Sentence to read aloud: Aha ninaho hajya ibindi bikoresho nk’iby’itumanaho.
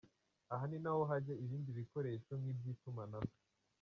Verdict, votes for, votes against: rejected, 1, 2